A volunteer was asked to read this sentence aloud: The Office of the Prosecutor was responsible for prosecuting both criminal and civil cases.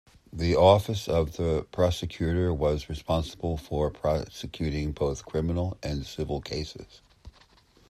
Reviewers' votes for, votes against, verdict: 2, 0, accepted